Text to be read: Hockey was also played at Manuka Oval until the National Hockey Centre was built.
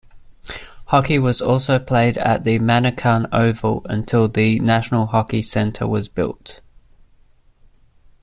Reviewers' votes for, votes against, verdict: 1, 2, rejected